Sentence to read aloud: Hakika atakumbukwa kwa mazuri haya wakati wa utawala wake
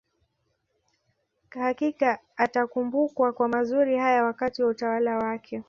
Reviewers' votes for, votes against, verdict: 2, 0, accepted